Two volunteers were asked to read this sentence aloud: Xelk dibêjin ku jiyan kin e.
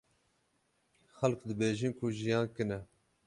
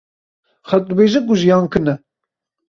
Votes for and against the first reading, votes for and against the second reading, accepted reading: 6, 6, 2, 0, second